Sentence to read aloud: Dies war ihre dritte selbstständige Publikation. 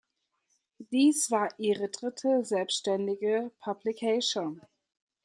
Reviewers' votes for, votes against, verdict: 0, 2, rejected